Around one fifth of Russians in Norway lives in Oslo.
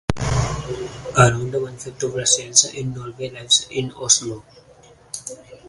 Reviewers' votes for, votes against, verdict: 0, 4, rejected